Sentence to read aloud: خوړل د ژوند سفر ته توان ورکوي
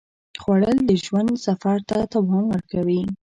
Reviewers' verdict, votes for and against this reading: accepted, 2, 0